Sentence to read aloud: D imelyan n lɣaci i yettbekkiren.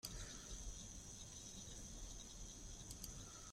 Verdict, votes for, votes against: rejected, 0, 3